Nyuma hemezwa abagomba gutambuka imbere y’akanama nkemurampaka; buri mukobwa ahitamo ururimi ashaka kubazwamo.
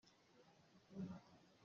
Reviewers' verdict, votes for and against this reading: rejected, 0, 2